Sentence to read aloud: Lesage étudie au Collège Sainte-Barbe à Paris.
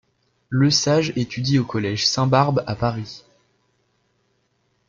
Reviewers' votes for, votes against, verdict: 1, 2, rejected